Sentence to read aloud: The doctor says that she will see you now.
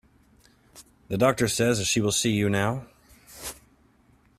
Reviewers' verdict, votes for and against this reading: accepted, 2, 0